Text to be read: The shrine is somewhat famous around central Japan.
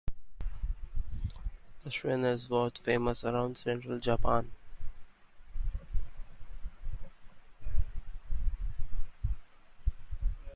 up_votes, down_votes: 1, 2